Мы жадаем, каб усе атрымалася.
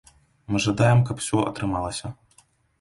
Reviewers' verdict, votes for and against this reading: rejected, 0, 2